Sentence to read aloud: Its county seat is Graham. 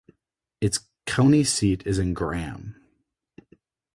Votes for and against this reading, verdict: 2, 2, rejected